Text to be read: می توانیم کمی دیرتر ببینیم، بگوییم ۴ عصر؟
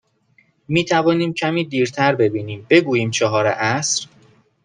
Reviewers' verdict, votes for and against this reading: rejected, 0, 2